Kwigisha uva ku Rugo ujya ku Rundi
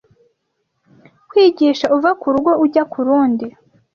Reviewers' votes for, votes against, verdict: 2, 0, accepted